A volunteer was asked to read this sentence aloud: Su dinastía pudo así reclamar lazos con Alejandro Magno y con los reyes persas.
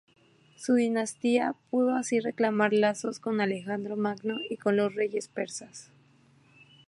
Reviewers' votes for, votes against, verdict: 2, 0, accepted